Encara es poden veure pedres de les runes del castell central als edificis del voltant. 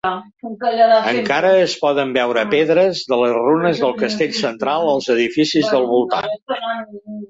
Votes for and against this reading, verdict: 0, 2, rejected